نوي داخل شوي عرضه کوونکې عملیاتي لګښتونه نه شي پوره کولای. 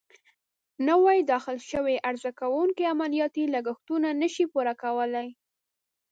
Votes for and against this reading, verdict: 3, 0, accepted